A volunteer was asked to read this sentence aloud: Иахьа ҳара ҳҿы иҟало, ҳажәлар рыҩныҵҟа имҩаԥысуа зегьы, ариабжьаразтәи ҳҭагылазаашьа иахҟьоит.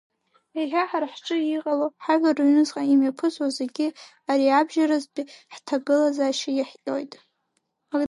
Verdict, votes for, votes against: rejected, 0, 2